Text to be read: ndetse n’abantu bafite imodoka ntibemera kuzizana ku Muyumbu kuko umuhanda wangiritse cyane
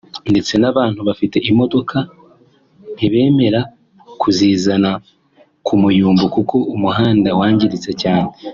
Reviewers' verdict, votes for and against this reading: accepted, 2, 0